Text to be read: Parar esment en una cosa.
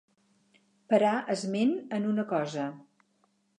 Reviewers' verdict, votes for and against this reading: accepted, 4, 0